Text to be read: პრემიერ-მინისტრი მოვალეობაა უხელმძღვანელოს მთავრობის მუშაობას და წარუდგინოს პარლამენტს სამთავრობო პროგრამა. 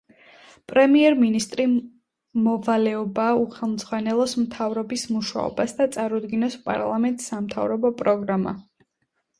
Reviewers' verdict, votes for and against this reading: rejected, 1, 2